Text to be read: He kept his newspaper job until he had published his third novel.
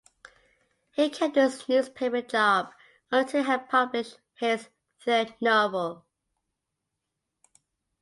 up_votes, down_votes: 0, 2